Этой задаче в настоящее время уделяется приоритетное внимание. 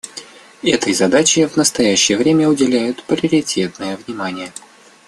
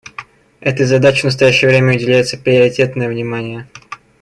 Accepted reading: second